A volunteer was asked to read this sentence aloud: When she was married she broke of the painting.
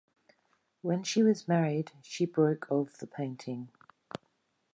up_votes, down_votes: 0, 2